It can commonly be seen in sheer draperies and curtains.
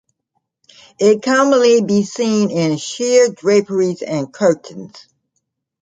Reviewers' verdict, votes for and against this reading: rejected, 0, 2